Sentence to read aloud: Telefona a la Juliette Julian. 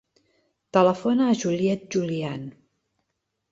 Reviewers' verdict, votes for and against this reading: rejected, 0, 2